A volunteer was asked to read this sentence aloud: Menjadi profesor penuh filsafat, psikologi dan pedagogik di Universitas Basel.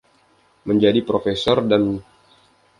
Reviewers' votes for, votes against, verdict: 0, 2, rejected